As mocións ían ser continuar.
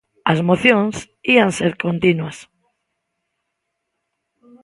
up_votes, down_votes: 0, 2